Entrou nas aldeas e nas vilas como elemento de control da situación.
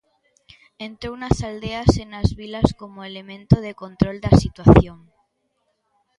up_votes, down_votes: 2, 0